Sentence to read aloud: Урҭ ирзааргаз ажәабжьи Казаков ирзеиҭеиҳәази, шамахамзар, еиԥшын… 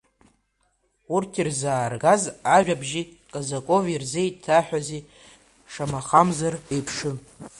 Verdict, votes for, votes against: rejected, 0, 2